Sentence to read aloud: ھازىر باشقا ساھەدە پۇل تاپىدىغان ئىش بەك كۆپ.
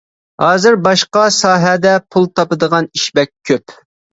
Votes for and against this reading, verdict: 2, 0, accepted